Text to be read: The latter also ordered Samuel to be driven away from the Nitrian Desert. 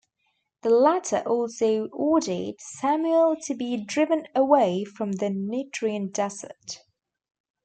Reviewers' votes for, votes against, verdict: 1, 2, rejected